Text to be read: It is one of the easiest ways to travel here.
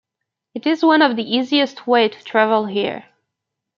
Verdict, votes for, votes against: rejected, 1, 2